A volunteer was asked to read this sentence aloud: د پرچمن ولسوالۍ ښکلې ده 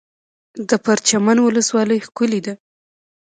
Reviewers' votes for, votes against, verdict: 1, 2, rejected